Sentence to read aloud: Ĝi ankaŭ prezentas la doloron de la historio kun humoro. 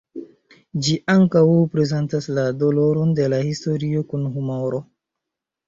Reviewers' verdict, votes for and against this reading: accepted, 3, 1